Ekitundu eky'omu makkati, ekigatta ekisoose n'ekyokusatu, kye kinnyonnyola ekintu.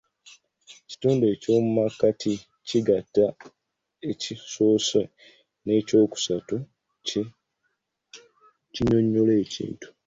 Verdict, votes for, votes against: rejected, 1, 2